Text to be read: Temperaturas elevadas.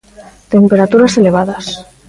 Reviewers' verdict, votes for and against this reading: rejected, 1, 2